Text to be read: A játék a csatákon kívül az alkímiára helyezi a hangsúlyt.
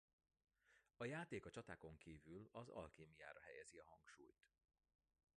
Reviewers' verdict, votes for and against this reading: rejected, 0, 2